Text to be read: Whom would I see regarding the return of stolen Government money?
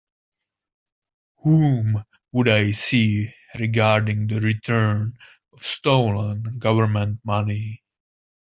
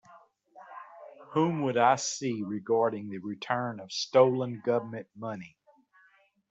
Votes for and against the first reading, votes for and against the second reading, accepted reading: 0, 2, 2, 0, second